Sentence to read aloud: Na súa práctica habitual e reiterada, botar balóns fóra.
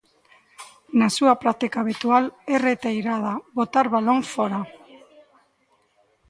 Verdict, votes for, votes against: rejected, 0, 2